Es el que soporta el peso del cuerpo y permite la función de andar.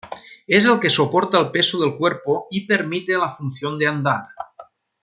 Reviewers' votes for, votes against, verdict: 1, 2, rejected